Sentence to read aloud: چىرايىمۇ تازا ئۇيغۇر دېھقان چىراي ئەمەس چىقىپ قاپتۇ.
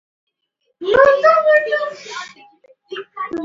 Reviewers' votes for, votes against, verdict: 0, 2, rejected